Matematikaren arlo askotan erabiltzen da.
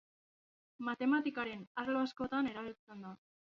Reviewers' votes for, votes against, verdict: 2, 0, accepted